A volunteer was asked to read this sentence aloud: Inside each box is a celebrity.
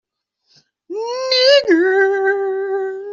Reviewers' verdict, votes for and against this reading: rejected, 0, 2